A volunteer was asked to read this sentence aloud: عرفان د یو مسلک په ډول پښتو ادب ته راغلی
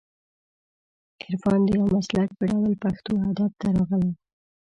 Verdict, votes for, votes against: rejected, 1, 3